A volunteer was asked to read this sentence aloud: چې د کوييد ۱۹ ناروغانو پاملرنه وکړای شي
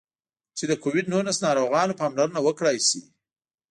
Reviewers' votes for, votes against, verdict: 0, 2, rejected